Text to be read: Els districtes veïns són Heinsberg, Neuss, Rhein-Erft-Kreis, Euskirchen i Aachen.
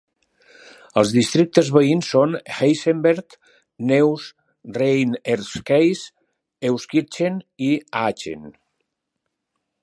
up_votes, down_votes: 1, 2